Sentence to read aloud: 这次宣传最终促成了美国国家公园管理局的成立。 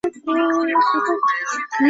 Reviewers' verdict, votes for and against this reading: rejected, 0, 2